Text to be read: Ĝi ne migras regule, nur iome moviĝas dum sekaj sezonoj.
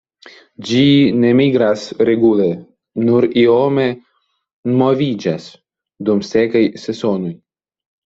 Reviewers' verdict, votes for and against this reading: accepted, 2, 0